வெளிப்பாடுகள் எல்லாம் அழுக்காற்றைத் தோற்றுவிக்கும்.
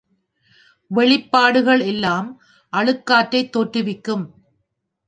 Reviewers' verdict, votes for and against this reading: accepted, 2, 0